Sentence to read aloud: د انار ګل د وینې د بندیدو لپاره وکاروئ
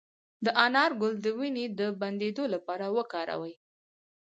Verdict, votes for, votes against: rejected, 0, 2